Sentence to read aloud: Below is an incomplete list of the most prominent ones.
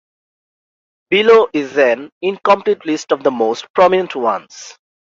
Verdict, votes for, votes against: accepted, 2, 1